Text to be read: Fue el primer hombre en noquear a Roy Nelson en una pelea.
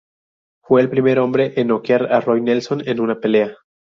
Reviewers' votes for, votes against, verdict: 2, 0, accepted